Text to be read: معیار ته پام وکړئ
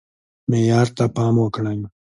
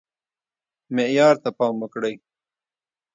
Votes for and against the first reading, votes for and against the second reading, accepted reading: 2, 0, 1, 2, first